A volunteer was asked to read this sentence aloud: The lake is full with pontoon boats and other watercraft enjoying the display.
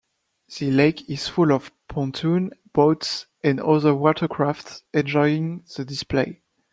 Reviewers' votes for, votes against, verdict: 0, 2, rejected